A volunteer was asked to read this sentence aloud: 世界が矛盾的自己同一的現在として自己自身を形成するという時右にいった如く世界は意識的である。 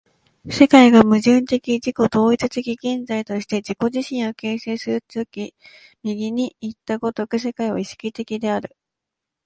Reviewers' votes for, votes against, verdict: 0, 2, rejected